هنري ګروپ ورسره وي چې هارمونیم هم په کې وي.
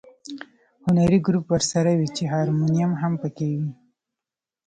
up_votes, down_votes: 2, 0